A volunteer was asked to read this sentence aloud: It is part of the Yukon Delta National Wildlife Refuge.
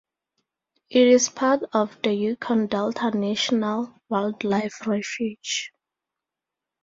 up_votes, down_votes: 2, 0